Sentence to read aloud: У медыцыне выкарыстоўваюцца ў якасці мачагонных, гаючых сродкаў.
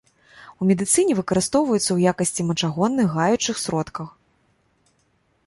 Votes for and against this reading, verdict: 0, 2, rejected